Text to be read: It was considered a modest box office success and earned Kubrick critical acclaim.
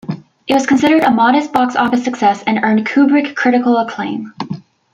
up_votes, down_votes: 1, 2